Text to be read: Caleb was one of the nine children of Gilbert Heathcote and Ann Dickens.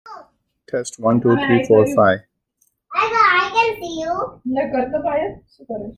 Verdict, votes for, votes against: rejected, 0, 2